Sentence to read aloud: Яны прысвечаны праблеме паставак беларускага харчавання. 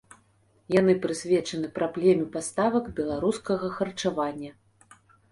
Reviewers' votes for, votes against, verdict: 2, 0, accepted